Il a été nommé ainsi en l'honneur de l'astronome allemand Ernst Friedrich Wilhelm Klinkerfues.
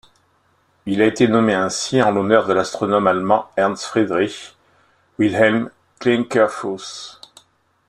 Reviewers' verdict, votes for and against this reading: accepted, 2, 0